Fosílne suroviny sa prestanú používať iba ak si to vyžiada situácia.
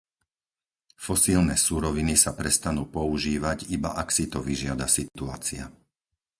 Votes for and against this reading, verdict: 2, 2, rejected